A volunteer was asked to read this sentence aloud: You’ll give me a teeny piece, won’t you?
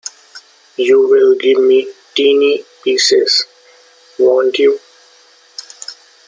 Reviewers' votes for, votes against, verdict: 0, 2, rejected